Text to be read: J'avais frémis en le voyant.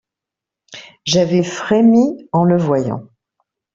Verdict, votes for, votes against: accepted, 2, 0